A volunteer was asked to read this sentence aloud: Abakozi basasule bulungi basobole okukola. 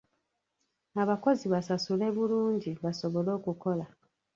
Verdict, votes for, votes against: rejected, 0, 2